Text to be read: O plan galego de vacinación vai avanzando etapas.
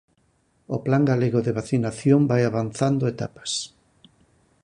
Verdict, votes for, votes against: accepted, 4, 0